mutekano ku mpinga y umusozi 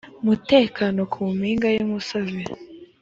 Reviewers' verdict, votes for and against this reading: accepted, 2, 0